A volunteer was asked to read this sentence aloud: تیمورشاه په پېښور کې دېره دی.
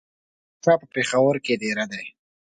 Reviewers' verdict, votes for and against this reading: rejected, 0, 2